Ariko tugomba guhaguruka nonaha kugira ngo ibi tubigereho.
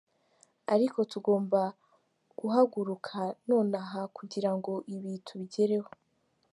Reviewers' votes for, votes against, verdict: 2, 0, accepted